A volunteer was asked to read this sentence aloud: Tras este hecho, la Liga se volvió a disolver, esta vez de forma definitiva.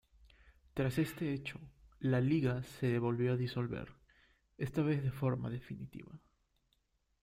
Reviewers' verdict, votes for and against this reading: accepted, 2, 0